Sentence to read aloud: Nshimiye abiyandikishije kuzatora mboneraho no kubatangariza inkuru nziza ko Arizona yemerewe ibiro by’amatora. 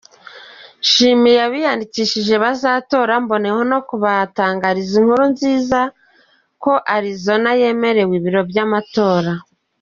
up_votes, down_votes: 2, 0